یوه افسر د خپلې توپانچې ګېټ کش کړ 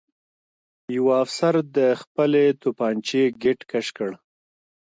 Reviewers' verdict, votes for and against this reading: accepted, 2, 1